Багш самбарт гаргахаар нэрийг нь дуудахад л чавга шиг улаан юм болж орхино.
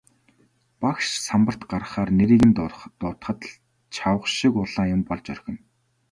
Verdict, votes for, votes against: rejected, 0, 2